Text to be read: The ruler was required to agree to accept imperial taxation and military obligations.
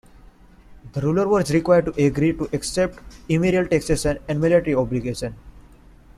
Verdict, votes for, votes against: rejected, 1, 2